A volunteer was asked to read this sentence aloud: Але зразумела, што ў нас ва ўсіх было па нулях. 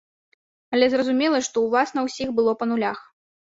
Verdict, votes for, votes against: rejected, 1, 2